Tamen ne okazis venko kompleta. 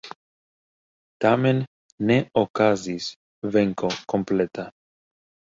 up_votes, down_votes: 3, 0